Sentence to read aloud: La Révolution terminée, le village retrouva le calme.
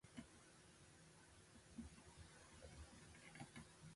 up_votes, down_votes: 1, 2